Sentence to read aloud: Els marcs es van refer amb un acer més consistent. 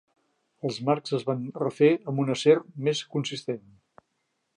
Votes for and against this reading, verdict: 3, 0, accepted